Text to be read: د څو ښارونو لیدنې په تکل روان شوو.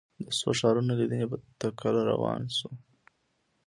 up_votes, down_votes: 2, 0